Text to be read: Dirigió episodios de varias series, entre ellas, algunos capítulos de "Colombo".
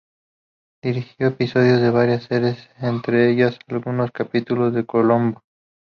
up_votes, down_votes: 0, 2